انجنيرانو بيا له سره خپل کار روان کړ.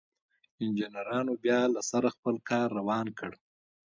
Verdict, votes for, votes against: rejected, 1, 2